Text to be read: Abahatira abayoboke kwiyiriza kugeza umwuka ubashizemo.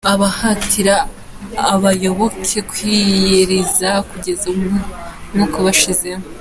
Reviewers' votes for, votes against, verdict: 2, 0, accepted